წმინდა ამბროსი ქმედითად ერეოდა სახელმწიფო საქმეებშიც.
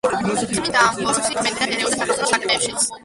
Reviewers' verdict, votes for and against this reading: rejected, 0, 2